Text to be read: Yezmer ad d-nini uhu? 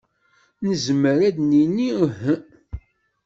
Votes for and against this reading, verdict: 0, 2, rejected